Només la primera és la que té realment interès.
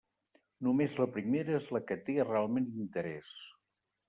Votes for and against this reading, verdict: 3, 0, accepted